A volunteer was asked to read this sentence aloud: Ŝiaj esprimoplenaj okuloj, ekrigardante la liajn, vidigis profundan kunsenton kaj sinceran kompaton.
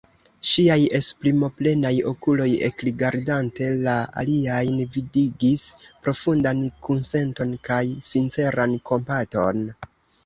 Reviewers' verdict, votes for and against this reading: rejected, 2, 3